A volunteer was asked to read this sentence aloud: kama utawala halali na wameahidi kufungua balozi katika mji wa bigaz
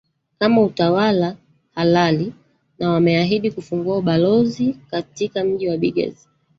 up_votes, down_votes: 2, 1